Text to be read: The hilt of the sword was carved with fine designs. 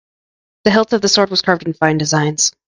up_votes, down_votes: 2, 1